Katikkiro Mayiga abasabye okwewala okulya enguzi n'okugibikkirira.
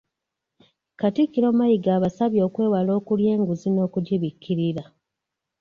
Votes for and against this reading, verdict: 2, 0, accepted